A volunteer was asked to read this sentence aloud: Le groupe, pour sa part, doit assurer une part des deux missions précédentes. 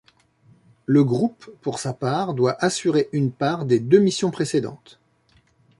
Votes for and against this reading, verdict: 2, 1, accepted